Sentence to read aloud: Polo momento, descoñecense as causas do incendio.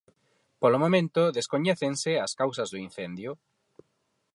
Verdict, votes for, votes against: rejected, 2, 2